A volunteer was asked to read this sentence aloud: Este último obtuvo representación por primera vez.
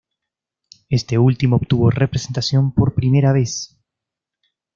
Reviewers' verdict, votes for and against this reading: accepted, 2, 0